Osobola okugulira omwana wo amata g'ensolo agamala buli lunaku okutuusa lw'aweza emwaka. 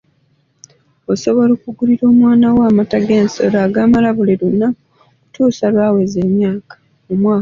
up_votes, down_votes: 0, 2